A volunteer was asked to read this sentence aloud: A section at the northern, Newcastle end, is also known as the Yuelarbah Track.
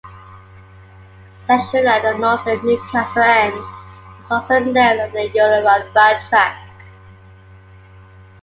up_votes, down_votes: 1, 2